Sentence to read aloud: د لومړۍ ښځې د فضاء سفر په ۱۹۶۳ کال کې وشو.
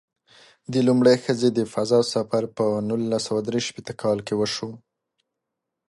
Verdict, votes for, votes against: rejected, 0, 2